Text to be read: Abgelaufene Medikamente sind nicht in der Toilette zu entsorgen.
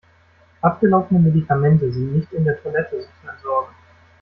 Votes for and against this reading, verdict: 0, 2, rejected